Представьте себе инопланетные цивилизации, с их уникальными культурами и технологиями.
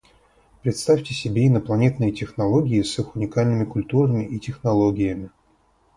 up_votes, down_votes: 0, 4